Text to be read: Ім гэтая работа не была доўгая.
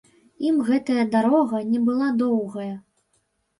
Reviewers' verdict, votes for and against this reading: rejected, 1, 2